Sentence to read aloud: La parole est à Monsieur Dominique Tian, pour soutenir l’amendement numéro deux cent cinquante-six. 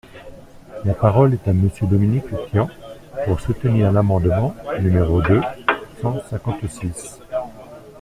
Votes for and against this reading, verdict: 2, 0, accepted